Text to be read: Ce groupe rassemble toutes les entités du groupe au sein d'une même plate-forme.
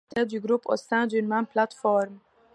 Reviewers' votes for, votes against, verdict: 1, 2, rejected